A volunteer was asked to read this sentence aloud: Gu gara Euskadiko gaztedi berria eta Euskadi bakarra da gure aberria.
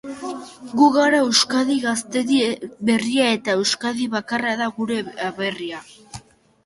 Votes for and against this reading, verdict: 0, 3, rejected